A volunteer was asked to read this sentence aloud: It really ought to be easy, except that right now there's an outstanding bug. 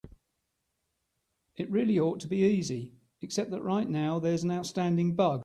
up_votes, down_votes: 3, 0